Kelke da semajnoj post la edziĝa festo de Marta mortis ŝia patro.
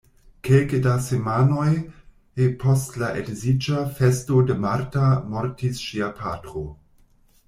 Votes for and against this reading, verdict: 0, 2, rejected